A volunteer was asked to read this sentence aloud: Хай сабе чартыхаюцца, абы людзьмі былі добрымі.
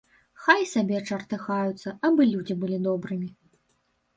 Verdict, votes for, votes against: rejected, 1, 2